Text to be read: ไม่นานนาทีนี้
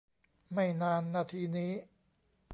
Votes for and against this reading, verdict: 2, 0, accepted